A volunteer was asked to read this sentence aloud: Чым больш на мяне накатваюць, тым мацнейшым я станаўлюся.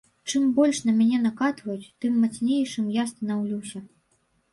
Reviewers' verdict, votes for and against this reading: accepted, 2, 0